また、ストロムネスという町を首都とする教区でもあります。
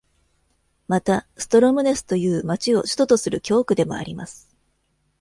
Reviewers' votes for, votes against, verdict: 2, 1, accepted